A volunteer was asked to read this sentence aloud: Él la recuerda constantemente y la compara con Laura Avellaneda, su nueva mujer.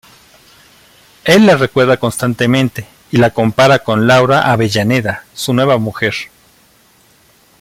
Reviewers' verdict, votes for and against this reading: rejected, 1, 2